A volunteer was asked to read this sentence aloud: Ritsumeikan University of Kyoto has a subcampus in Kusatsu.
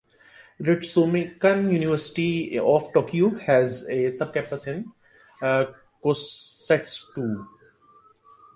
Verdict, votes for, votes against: rejected, 0, 2